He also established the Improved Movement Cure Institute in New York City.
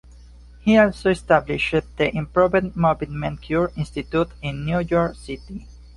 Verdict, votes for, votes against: rejected, 1, 2